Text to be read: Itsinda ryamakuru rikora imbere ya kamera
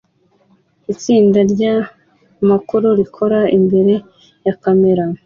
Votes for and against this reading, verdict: 2, 0, accepted